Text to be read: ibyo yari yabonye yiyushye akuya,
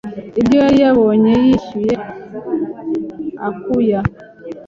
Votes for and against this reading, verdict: 2, 3, rejected